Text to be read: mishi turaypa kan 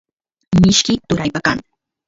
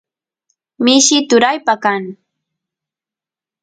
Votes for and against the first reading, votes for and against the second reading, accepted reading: 1, 2, 2, 0, second